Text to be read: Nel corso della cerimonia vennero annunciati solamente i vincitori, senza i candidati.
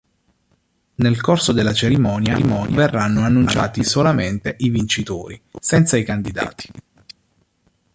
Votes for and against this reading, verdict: 0, 2, rejected